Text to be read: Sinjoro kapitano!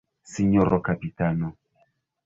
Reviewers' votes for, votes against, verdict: 1, 2, rejected